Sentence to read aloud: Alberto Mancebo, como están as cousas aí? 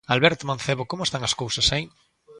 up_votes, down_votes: 2, 0